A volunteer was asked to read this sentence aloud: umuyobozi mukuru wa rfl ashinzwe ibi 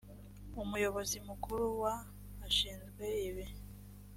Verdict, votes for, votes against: rejected, 0, 3